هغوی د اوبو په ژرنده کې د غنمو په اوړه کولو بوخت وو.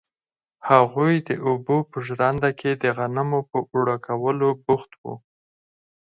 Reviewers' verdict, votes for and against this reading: accepted, 4, 0